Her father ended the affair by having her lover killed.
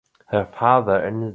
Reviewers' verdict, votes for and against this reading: rejected, 0, 2